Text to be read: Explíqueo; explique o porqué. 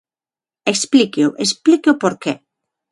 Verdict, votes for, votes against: accepted, 6, 0